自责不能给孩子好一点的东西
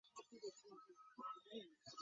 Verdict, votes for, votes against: rejected, 0, 5